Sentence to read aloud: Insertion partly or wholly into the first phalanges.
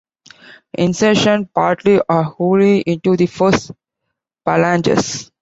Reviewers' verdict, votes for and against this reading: rejected, 1, 2